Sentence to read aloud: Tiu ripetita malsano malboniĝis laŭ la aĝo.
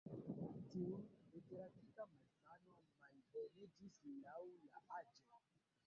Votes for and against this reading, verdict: 1, 2, rejected